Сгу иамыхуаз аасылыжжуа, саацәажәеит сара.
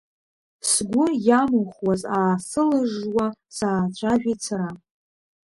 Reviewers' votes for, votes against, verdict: 1, 3, rejected